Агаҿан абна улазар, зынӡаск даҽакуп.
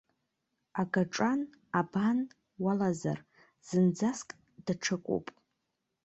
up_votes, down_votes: 0, 2